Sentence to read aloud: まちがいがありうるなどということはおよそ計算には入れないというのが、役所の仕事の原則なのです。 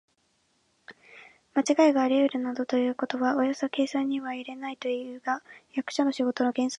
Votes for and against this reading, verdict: 0, 2, rejected